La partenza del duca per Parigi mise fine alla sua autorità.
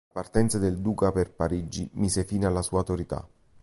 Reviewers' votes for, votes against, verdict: 0, 2, rejected